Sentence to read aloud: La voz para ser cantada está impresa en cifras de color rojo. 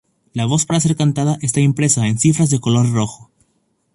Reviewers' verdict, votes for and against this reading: accepted, 2, 0